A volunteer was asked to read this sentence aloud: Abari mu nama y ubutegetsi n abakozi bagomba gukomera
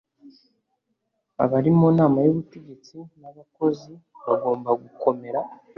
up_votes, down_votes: 3, 0